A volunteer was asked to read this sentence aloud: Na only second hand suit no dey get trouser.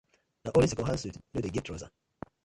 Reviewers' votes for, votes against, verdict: 0, 2, rejected